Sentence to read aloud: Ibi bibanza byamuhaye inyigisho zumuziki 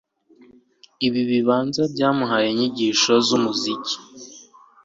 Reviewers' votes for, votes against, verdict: 2, 0, accepted